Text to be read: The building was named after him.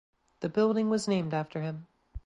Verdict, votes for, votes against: accepted, 2, 0